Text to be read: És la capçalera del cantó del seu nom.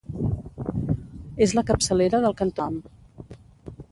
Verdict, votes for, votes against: rejected, 0, 2